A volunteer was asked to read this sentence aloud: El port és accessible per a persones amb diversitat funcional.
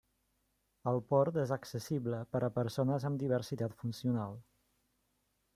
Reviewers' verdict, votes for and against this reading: accepted, 3, 0